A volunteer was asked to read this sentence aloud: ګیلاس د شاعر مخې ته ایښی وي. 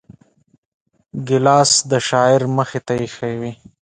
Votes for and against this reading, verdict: 2, 0, accepted